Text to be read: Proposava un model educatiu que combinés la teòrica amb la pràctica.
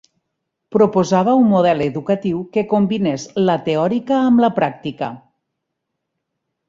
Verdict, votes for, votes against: accepted, 6, 0